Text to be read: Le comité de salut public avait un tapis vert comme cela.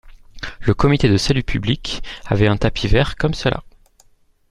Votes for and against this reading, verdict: 2, 0, accepted